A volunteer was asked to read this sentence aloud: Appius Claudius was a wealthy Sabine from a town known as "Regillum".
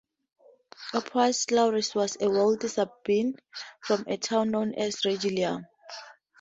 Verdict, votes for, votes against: accepted, 2, 0